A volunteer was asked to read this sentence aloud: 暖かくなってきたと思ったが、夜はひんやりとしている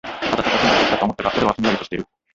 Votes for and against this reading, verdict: 1, 2, rejected